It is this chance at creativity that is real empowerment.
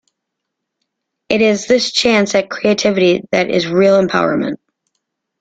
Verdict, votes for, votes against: accepted, 2, 0